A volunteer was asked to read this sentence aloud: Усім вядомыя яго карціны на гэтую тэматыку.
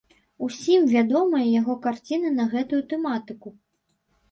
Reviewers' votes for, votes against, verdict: 2, 0, accepted